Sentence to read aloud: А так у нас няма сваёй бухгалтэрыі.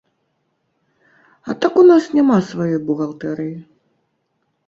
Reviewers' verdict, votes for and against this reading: accepted, 3, 0